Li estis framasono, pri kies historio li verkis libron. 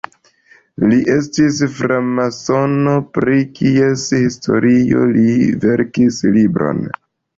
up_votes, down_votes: 2, 1